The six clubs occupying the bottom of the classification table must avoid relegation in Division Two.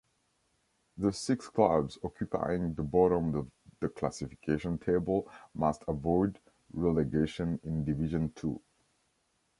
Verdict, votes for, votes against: rejected, 0, 2